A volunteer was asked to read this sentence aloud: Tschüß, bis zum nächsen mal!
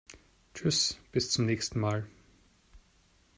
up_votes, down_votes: 1, 2